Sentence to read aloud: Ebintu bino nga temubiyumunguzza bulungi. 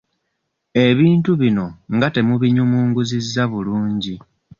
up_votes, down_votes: 1, 2